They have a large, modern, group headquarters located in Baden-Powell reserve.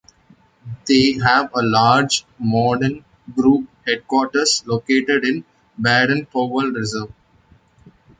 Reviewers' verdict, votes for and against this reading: accepted, 2, 0